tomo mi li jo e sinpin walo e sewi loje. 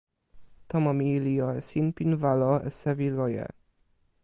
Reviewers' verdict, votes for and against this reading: accepted, 2, 1